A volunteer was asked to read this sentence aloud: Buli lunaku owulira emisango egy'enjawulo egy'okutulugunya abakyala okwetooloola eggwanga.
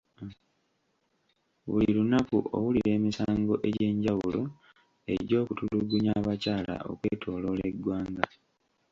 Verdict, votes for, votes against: rejected, 0, 2